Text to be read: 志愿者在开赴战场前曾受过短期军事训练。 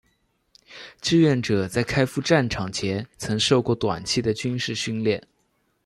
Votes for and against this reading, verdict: 2, 0, accepted